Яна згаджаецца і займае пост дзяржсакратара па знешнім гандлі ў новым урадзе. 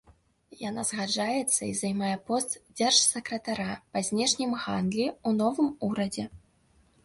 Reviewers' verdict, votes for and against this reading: rejected, 0, 2